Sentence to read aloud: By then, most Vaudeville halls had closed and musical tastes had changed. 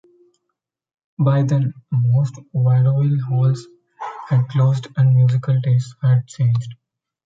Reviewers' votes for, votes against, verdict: 0, 2, rejected